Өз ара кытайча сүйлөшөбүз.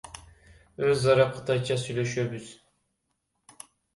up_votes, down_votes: 1, 2